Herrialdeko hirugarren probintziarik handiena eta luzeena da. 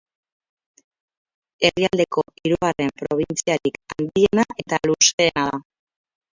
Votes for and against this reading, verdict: 2, 4, rejected